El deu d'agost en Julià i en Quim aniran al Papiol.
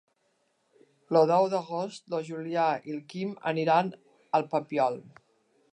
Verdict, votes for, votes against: rejected, 0, 3